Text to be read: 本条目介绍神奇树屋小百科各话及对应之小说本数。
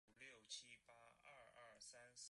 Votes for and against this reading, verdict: 0, 4, rejected